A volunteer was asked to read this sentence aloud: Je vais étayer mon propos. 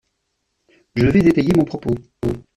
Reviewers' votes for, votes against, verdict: 1, 2, rejected